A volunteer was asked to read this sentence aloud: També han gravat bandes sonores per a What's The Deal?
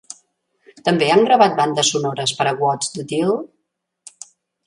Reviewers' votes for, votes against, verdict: 2, 0, accepted